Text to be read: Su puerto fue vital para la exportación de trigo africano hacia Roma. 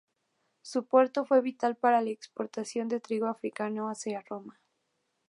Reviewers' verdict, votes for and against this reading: accepted, 2, 0